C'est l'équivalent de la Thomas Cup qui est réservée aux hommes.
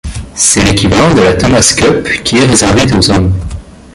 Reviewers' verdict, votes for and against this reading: rejected, 0, 2